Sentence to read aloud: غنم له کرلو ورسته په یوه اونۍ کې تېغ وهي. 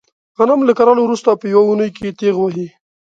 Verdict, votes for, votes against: accepted, 2, 0